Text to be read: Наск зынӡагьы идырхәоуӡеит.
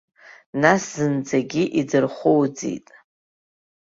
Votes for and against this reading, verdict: 0, 2, rejected